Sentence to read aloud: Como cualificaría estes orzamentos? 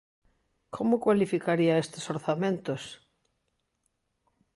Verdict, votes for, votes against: accepted, 2, 0